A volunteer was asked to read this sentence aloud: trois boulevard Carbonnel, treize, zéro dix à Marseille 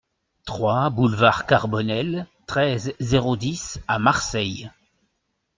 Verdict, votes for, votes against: accepted, 2, 0